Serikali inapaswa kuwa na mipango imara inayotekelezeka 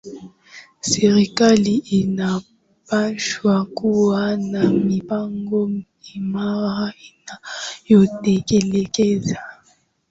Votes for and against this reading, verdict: 2, 0, accepted